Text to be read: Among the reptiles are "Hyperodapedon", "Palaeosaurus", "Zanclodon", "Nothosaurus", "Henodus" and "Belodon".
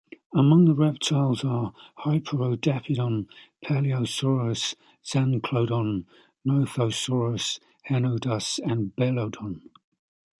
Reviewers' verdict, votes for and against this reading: accepted, 2, 0